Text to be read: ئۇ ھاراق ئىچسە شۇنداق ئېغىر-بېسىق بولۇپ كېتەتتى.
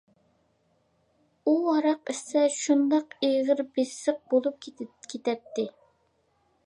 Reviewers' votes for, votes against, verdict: 1, 2, rejected